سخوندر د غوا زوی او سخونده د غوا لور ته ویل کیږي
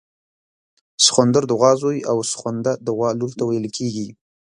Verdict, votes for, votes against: accepted, 2, 1